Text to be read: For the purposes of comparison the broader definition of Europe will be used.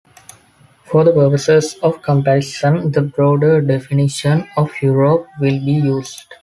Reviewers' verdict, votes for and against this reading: accepted, 2, 0